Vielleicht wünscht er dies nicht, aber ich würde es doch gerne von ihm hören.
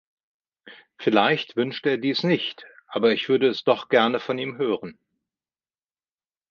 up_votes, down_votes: 2, 0